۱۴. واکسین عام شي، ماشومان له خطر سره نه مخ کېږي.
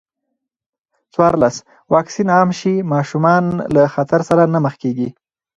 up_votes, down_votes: 0, 2